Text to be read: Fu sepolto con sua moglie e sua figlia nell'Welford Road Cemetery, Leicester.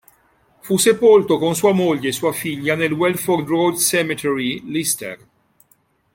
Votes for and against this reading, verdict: 0, 2, rejected